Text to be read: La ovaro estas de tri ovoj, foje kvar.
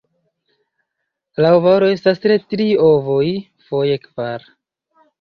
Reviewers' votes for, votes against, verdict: 0, 2, rejected